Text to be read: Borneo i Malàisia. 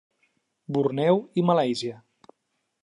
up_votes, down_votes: 2, 0